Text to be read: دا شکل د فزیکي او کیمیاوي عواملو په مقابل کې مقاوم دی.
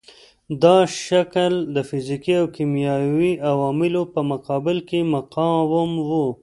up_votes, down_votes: 0, 2